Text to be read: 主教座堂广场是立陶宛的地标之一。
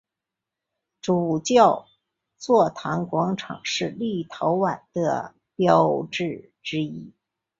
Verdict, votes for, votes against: rejected, 0, 2